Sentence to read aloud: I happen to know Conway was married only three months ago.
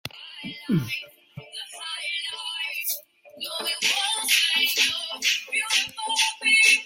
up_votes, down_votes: 0, 3